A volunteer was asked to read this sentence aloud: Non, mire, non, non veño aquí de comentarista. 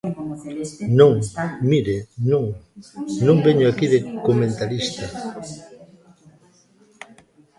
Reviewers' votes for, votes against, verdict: 1, 2, rejected